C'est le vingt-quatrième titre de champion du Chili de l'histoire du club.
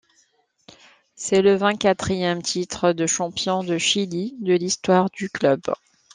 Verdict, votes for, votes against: accepted, 2, 0